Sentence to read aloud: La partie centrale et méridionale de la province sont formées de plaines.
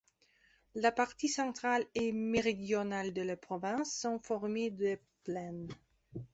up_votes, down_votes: 2, 0